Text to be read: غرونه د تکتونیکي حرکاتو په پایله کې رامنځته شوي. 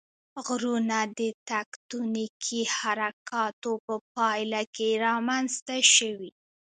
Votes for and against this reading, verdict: 2, 0, accepted